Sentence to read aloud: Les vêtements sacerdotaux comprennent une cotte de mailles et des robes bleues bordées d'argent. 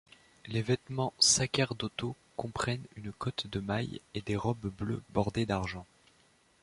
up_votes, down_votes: 2, 3